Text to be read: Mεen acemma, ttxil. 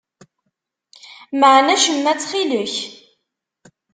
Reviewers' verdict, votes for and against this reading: rejected, 0, 2